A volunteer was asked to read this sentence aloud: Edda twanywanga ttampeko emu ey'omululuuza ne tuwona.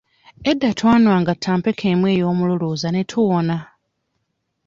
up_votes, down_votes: 1, 2